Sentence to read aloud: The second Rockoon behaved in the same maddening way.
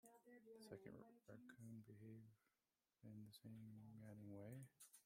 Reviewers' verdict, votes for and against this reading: accepted, 2, 1